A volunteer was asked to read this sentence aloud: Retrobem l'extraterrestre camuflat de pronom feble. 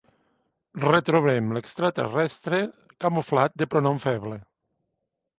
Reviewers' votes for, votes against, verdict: 2, 0, accepted